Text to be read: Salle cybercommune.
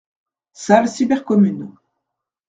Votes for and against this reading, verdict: 2, 0, accepted